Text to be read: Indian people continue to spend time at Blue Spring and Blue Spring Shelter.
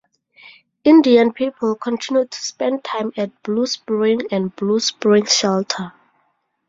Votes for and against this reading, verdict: 2, 0, accepted